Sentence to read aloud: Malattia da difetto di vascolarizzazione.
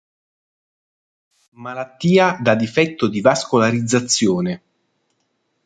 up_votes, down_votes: 2, 0